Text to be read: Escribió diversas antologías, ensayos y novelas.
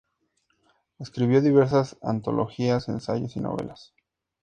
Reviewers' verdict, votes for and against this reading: accepted, 2, 0